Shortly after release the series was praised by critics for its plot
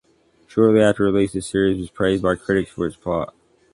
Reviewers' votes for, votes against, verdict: 2, 0, accepted